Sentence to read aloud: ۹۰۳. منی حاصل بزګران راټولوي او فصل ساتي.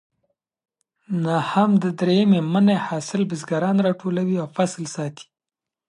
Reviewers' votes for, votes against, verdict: 0, 2, rejected